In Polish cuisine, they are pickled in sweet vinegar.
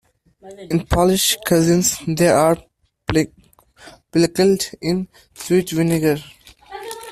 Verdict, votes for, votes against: rejected, 0, 2